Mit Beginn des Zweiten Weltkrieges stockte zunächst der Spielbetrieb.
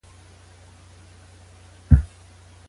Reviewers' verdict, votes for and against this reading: rejected, 0, 2